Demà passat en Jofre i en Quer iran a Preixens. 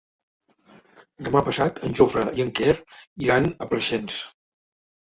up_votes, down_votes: 3, 0